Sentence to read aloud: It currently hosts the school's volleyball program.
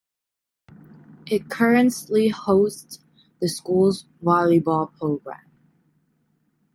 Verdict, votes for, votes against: accepted, 2, 1